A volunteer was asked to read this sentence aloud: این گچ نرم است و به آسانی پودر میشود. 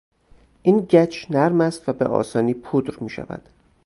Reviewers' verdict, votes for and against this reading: accepted, 4, 0